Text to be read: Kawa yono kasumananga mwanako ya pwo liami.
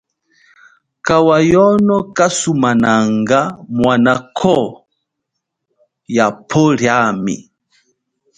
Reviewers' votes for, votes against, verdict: 2, 0, accepted